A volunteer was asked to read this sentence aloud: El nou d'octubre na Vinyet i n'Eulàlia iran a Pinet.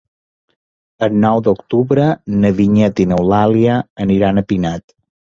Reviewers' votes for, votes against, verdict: 1, 2, rejected